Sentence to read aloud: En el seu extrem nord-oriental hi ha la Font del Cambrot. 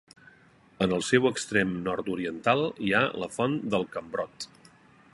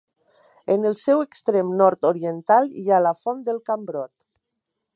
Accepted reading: second